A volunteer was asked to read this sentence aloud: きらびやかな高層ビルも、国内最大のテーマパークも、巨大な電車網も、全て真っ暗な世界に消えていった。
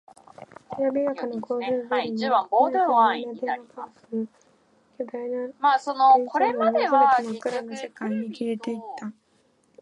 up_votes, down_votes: 0, 2